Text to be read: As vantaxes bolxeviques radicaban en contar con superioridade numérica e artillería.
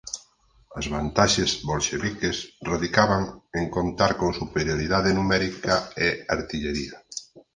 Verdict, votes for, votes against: accepted, 4, 0